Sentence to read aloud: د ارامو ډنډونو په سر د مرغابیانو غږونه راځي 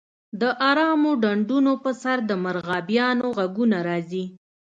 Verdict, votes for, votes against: accepted, 2, 0